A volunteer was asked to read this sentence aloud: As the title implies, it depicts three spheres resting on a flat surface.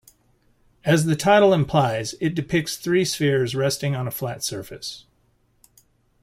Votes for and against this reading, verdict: 2, 0, accepted